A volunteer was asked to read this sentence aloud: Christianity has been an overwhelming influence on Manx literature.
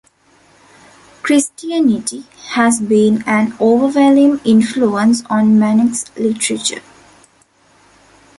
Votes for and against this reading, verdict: 0, 2, rejected